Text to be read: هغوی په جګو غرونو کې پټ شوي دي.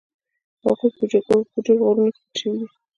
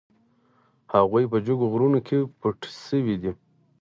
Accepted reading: second